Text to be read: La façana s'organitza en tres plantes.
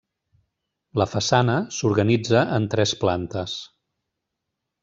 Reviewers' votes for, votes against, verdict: 3, 0, accepted